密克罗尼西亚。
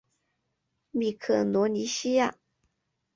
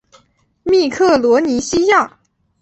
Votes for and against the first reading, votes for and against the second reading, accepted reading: 1, 2, 4, 0, second